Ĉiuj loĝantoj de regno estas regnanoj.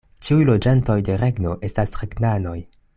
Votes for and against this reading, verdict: 2, 0, accepted